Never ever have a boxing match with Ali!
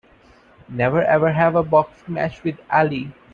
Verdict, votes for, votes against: rejected, 2, 3